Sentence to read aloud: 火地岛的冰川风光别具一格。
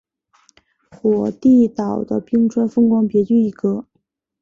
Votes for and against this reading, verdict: 9, 0, accepted